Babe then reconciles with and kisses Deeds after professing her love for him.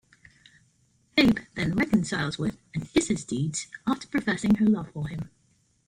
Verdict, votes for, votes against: rejected, 0, 2